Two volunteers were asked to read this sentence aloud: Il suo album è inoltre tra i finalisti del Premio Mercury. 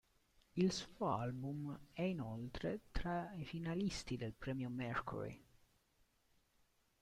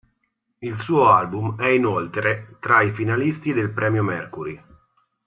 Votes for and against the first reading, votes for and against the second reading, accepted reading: 0, 2, 3, 0, second